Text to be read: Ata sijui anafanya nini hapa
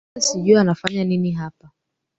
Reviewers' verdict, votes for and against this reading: rejected, 0, 2